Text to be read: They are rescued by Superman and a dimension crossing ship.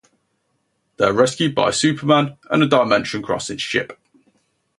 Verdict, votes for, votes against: rejected, 0, 2